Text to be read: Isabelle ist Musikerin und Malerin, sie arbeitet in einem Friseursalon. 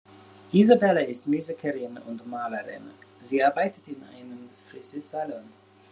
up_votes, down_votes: 1, 2